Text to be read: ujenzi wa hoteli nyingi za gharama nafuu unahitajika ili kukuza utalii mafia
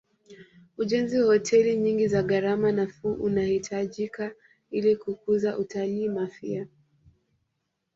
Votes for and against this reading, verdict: 1, 2, rejected